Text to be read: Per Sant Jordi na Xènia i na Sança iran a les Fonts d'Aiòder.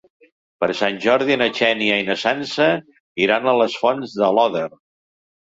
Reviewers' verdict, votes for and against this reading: rejected, 0, 3